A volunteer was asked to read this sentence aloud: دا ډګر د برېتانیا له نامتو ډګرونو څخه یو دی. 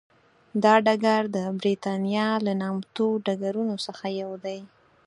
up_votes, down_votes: 4, 0